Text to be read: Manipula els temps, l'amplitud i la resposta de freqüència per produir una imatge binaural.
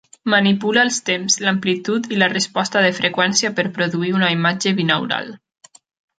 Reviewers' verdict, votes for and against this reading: accepted, 2, 0